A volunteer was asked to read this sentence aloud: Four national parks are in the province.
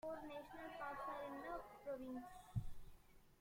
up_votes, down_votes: 0, 2